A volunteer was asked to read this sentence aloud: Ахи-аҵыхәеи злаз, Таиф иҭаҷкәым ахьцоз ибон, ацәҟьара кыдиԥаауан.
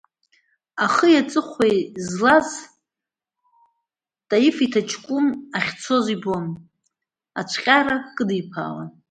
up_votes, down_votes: 1, 2